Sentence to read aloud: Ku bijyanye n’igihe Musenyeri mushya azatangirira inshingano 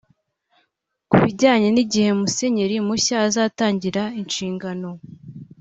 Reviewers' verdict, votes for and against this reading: accepted, 2, 0